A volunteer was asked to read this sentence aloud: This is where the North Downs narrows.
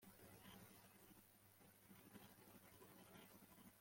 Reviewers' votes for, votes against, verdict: 0, 2, rejected